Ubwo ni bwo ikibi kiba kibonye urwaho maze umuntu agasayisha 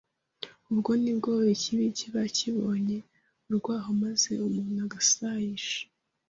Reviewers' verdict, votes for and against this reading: accepted, 2, 0